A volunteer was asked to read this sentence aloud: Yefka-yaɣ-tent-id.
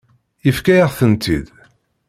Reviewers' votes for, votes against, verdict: 2, 0, accepted